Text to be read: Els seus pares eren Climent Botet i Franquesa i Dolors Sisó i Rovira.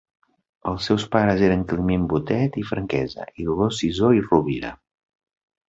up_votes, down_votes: 2, 0